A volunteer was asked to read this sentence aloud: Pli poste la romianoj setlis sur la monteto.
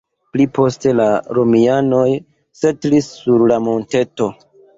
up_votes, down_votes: 2, 0